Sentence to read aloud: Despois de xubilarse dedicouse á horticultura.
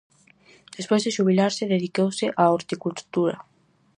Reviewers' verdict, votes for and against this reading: accepted, 4, 0